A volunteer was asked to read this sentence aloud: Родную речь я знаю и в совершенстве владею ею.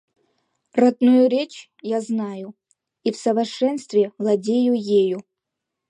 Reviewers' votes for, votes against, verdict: 0, 2, rejected